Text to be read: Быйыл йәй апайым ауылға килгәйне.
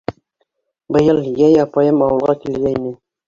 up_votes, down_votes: 2, 1